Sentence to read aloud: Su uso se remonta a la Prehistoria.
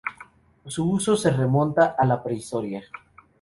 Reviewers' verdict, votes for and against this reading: accepted, 4, 0